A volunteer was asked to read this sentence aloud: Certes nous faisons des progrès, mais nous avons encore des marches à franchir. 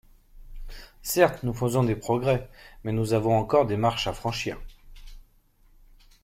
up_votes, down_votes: 2, 0